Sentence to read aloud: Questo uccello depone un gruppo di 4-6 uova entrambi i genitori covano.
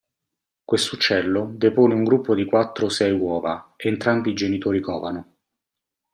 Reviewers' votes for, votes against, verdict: 0, 2, rejected